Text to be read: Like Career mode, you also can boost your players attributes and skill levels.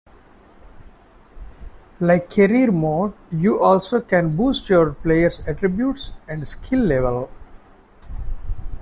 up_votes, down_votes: 0, 2